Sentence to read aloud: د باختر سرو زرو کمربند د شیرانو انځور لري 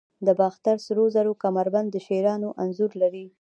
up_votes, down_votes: 2, 0